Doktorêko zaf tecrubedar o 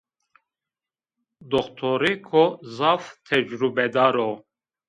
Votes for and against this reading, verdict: 2, 1, accepted